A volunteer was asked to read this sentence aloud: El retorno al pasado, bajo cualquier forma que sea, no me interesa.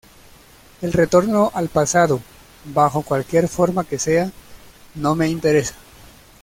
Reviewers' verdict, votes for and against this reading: accepted, 2, 0